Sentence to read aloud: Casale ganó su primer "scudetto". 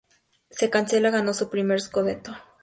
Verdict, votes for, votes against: accepted, 2, 0